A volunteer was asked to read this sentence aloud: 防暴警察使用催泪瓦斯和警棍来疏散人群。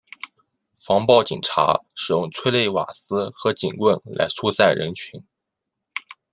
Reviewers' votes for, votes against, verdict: 2, 0, accepted